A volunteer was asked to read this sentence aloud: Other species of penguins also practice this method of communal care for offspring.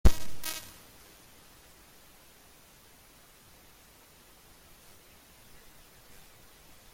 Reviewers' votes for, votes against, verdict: 0, 2, rejected